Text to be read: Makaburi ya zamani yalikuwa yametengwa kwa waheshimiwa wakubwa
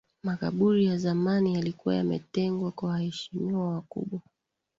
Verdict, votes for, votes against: accepted, 5, 4